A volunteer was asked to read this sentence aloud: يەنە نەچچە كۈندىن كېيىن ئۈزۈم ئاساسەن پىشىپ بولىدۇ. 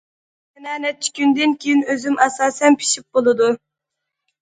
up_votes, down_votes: 0, 2